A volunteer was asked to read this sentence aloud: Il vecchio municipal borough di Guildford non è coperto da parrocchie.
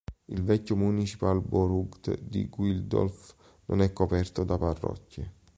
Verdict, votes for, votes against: rejected, 1, 2